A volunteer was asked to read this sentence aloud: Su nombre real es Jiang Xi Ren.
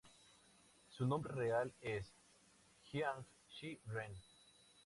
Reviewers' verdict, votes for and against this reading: accepted, 4, 0